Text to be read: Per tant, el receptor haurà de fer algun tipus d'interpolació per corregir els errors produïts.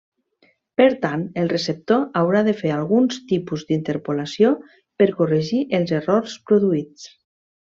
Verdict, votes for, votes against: rejected, 0, 2